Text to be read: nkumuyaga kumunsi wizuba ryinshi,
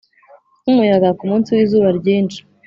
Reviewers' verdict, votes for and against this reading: accepted, 3, 0